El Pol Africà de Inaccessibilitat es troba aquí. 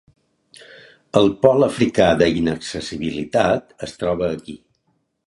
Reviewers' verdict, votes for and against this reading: accepted, 4, 0